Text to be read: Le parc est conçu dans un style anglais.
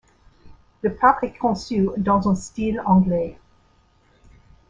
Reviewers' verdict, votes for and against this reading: accepted, 2, 0